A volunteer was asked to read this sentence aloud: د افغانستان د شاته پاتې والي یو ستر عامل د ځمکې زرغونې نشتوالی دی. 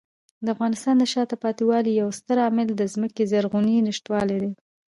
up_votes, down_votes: 0, 2